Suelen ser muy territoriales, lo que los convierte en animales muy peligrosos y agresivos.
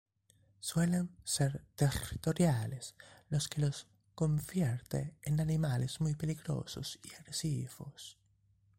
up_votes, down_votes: 1, 3